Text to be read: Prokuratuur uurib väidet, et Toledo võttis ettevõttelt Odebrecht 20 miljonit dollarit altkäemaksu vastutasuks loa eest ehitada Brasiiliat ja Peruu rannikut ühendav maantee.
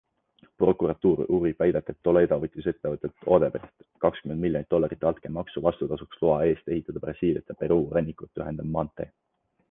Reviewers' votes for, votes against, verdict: 0, 2, rejected